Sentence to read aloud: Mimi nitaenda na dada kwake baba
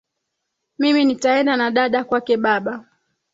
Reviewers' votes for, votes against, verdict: 4, 1, accepted